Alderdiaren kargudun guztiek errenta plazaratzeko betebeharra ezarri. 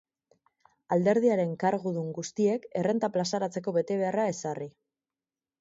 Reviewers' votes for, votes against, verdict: 6, 0, accepted